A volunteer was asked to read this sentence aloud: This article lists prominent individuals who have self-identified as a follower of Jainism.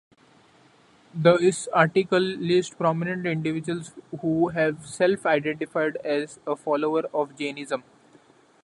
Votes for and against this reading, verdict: 2, 0, accepted